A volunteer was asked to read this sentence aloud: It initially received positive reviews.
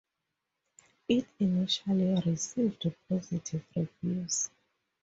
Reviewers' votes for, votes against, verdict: 2, 0, accepted